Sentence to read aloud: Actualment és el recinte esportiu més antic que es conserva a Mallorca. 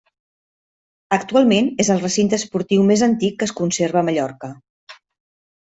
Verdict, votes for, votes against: accepted, 2, 0